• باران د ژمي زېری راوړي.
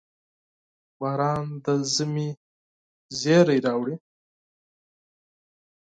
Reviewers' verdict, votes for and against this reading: accepted, 8, 0